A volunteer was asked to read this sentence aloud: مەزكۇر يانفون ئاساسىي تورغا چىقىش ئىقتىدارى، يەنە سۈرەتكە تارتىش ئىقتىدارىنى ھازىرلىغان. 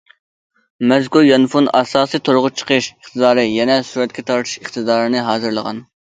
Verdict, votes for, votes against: accepted, 2, 0